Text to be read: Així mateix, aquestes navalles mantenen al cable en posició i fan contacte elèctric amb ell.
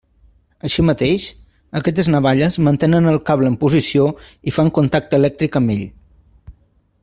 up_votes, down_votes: 2, 0